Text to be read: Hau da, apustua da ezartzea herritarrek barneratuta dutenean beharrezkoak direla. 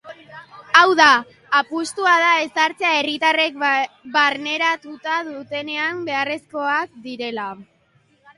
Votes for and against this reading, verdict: 0, 2, rejected